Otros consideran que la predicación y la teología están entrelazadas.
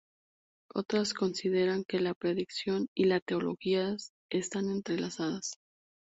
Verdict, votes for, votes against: accepted, 2, 0